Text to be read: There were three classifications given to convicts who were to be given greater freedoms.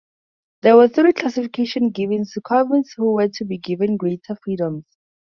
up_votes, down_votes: 0, 2